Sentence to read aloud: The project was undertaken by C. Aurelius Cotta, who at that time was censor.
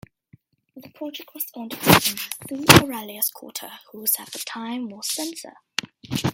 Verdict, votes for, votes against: rejected, 1, 2